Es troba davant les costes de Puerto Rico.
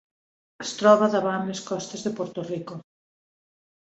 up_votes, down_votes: 2, 0